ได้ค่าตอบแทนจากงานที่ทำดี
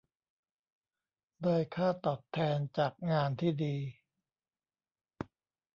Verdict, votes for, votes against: rejected, 1, 2